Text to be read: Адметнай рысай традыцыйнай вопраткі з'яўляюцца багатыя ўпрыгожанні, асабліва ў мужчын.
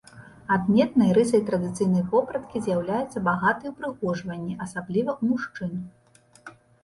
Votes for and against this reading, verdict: 1, 2, rejected